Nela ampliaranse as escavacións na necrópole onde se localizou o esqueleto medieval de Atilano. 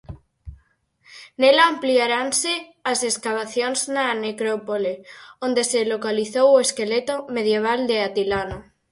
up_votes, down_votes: 4, 0